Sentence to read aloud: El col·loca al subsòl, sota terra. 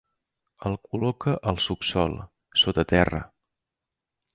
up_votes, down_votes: 2, 0